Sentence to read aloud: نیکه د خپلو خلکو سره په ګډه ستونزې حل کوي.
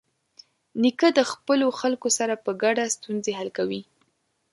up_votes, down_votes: 2, 0